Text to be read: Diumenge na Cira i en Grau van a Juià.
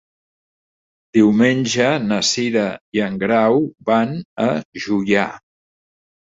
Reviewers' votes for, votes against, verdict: 3, 0, accepted